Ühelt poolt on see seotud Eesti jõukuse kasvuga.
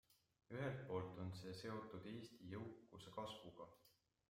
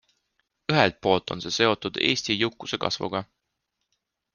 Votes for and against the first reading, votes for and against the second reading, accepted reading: 1, 2, 2, 0, second